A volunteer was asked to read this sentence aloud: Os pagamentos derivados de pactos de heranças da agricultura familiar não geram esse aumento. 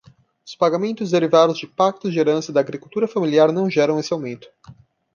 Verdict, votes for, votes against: rejected, 1, 2